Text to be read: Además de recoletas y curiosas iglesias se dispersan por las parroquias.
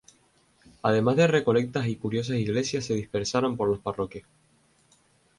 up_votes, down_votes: 0, 2